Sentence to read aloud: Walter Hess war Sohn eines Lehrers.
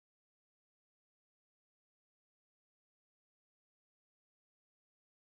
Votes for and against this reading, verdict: 0, 2, rejected